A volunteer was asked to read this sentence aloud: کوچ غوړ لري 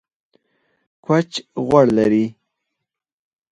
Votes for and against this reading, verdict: 2, 4, rejected